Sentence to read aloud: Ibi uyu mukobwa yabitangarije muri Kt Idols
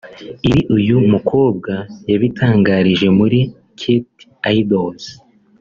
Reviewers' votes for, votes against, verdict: 3, 1, accepted